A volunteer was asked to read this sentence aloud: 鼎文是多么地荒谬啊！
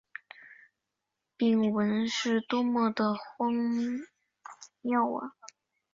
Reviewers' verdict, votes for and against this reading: accepted, 2, 0